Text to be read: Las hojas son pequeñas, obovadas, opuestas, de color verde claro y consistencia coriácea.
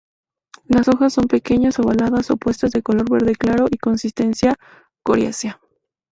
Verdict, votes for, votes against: rejected, 0, 2